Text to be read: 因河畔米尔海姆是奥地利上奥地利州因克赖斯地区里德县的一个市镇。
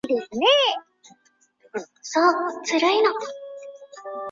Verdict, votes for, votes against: rejected, 0, 2